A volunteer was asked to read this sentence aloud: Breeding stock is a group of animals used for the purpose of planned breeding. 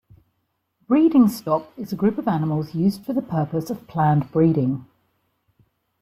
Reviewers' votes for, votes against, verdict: 2, 0, accepted